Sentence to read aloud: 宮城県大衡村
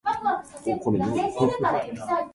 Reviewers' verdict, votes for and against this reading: rejected, 1, 3